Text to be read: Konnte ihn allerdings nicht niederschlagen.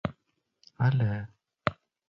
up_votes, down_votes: 0, 2